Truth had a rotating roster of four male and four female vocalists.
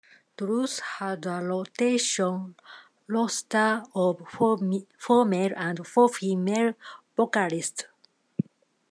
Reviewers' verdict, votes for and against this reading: rejected, 0, 2